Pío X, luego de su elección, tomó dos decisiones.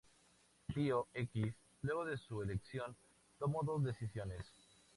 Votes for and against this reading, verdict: 2, 0, accepted